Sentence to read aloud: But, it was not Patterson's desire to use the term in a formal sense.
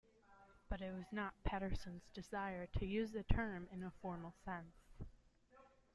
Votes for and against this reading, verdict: 2, 0, accepted